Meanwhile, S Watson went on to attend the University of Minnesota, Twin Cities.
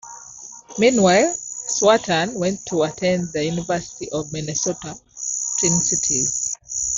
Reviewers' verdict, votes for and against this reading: accepted, 2, 0